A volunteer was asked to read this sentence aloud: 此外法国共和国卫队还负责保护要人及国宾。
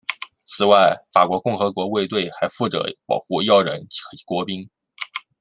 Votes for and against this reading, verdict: 0, 2, rejected